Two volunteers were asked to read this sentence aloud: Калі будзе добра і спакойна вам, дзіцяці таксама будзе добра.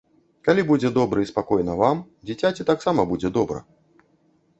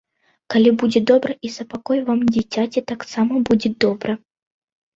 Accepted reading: first